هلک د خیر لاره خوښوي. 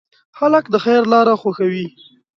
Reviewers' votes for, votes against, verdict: 1, 2, rejected